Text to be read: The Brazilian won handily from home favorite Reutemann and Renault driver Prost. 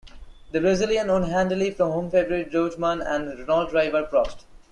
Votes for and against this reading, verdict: 1, 2, rejected